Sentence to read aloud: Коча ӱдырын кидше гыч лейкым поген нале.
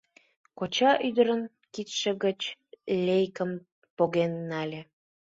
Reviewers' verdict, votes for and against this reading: accepted, 2, 0